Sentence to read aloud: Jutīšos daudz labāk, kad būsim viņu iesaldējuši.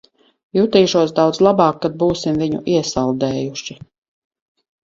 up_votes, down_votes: 4, 0